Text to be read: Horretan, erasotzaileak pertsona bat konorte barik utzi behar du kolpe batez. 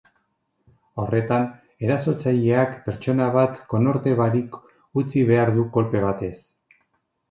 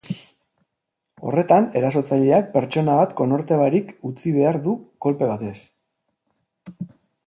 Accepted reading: first